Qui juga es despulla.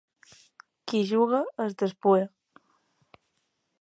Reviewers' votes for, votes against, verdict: 1, 2, rejected